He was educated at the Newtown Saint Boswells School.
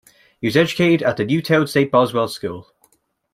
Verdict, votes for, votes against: rejected, 0, 2